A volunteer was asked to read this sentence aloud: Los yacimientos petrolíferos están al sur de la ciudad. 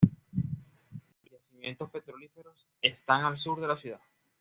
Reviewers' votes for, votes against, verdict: 1, 2, rejected